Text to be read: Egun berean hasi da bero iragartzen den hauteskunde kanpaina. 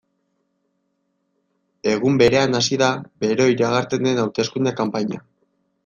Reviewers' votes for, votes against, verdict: 0, 2, rejected